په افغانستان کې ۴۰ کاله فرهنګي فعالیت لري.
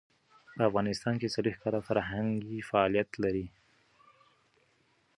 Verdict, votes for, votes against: rejected, 0, 2